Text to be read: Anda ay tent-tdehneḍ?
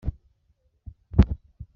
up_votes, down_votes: 0, 2